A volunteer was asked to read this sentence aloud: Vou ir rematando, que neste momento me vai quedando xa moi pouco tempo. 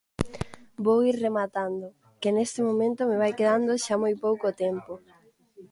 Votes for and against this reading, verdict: 2, 0, accepted